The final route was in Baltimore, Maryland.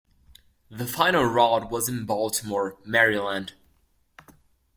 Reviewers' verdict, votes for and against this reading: accepted, 2, 0